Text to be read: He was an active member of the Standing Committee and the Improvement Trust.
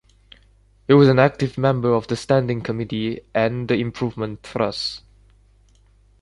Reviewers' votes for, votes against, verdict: 1, 2, rejected